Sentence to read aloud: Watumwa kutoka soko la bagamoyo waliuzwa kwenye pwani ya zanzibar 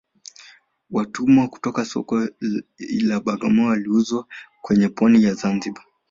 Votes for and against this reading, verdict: 3, 2, accepted